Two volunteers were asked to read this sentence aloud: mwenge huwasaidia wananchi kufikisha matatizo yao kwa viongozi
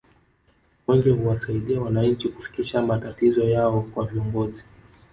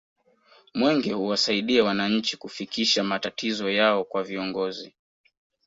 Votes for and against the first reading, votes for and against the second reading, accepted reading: 2, 0, 1, 2, first